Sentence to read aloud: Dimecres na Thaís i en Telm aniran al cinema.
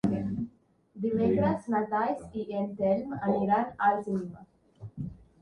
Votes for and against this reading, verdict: 1, 2, rejected